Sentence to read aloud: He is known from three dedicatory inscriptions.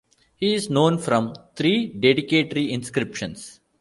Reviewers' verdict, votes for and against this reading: rejected, 1, 2